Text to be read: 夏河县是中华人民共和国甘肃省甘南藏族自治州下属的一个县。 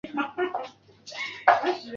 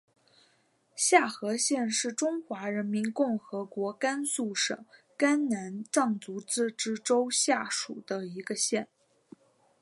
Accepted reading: second